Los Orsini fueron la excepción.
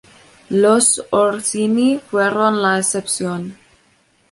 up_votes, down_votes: 2, 0